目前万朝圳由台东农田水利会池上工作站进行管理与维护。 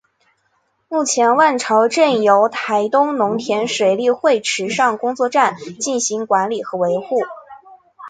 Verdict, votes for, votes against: accepted, 5, 0